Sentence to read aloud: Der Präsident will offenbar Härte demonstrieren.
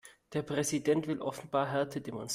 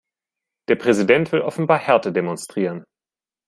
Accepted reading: second